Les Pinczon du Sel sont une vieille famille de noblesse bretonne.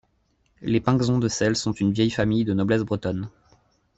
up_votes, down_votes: 0, 2